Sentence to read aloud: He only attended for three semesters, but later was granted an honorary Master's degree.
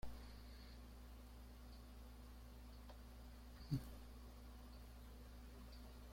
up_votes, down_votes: 0, 2